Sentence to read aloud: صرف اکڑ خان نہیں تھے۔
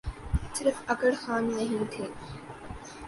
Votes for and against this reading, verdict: 2, 0, accepted